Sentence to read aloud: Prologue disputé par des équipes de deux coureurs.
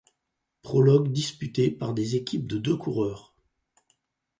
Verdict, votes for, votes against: accepted, 4, 0